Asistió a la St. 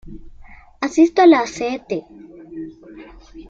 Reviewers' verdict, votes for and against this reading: rejected, 0, 2